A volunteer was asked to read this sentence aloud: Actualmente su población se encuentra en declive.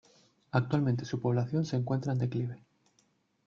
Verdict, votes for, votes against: accepted, 2, 0